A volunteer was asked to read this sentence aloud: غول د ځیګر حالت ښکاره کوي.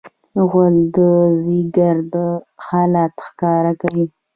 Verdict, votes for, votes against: rejected, 0, 2